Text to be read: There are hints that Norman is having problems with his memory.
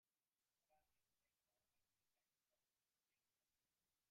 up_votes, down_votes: 0, 2